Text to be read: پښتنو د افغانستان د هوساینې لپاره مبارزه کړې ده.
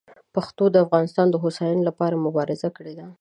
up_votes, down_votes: 1, 2